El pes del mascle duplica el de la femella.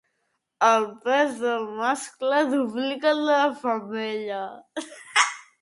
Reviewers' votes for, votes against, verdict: 0, 2, rejected